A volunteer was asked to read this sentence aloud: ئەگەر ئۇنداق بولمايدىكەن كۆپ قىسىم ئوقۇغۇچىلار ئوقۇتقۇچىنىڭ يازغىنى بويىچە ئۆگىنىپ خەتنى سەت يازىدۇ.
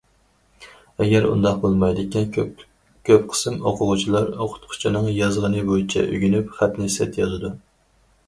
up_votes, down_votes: 0, 4